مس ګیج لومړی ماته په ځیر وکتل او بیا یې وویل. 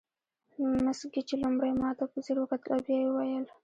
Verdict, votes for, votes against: rejected, 1, 2